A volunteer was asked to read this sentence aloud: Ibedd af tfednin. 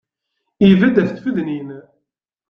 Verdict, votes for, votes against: accepted, 2, 0